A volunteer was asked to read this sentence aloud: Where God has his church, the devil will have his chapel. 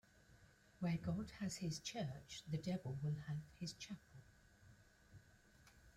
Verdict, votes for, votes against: rejected, 1, 2